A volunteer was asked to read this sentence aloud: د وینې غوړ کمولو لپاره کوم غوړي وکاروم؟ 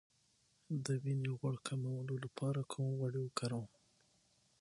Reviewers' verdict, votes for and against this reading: rejected, 3, 6